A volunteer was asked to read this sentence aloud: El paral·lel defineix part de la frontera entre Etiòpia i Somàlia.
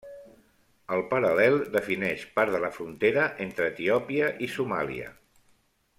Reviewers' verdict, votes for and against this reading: accepted, 3, 0